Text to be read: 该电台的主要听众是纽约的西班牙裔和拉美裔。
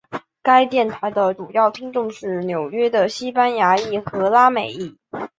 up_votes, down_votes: 5, 0